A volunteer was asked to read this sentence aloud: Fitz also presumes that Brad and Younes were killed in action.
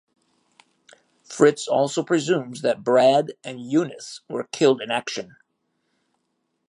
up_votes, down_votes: 0, 2